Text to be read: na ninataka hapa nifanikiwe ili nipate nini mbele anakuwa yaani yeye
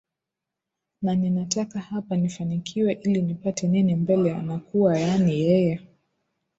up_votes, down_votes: 2, 3